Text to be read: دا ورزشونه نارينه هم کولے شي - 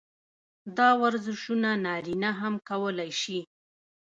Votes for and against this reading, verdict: 2, 0, accepted